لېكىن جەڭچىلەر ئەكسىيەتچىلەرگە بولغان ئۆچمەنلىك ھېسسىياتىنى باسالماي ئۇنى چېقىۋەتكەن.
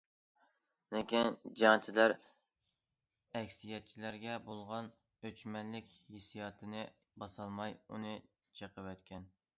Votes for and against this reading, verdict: 2, 0, accepted